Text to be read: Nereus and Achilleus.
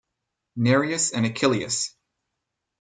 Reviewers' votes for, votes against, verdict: 4, 2, accepted